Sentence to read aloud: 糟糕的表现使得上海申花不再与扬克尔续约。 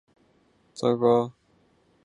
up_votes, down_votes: 0, 2